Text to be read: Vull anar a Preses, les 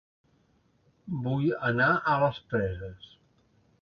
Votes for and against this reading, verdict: 1, 2, rejected